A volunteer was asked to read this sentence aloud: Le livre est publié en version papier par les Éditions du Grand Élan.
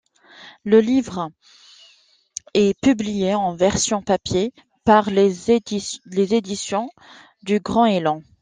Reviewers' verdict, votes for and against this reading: rejected, 0, 2